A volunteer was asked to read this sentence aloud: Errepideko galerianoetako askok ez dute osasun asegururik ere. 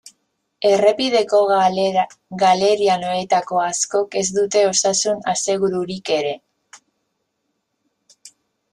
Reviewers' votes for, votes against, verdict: 2, 0, accepted